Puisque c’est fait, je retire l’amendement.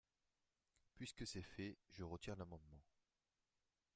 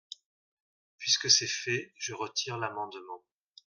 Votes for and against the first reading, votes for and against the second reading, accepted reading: 0, 2, 2, 0, second